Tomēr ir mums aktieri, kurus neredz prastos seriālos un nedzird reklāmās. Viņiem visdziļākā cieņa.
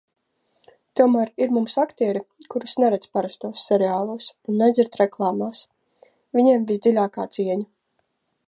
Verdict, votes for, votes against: rejected, 1, 2